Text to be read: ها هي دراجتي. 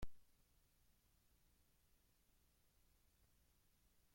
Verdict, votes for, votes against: rejected, 0, 2